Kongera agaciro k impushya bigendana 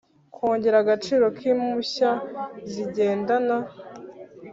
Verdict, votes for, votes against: accepted, 3, 1